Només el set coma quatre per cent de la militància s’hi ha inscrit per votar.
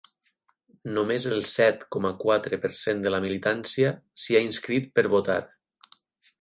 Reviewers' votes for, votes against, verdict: 8, 0, accepted